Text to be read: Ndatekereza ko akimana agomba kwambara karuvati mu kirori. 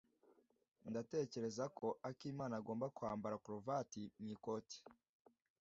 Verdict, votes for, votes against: rejected, 0, 2